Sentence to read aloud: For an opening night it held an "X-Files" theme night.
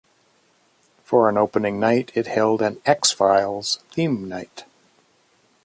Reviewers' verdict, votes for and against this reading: accepted, 2, 0